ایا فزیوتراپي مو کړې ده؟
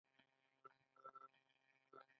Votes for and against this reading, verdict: 0, 2, rejected